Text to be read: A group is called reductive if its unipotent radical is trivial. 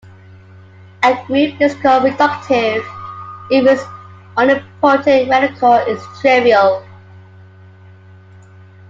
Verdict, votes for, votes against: rejected, 1, 2